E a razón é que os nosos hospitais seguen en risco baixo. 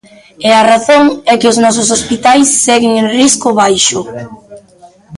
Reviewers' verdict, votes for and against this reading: accepted, 2, 0